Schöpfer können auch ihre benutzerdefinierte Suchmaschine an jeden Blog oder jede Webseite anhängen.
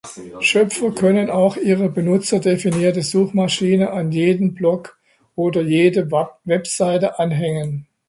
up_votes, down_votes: 0, 2